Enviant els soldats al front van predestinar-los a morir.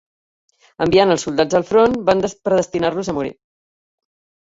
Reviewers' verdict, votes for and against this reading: rejected, 1, 3